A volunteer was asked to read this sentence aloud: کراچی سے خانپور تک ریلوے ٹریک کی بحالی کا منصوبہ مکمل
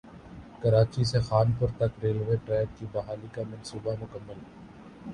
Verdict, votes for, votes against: accepted, 2, 1